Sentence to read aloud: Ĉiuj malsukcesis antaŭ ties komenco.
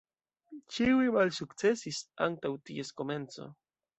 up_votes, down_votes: 2, 0